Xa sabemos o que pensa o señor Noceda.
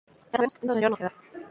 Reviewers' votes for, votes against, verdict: 0, 2, rejected